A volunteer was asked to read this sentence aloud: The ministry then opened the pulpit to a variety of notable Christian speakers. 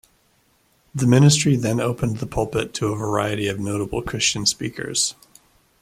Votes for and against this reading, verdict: 2, 0, accepted